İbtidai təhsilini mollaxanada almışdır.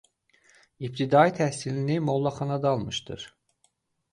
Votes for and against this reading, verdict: 2, 0, accepted